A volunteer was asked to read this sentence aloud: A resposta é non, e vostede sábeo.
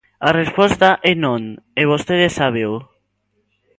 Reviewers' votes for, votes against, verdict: 2, 0, accepted